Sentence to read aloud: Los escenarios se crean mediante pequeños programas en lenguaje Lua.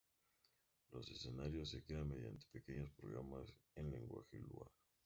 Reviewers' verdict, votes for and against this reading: accepted, 2, 0